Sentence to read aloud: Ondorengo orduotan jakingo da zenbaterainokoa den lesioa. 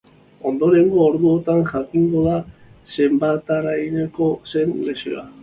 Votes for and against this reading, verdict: 0, 2, rejected